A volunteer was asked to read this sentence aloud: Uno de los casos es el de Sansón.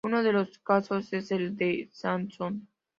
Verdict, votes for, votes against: rejected, 1, 2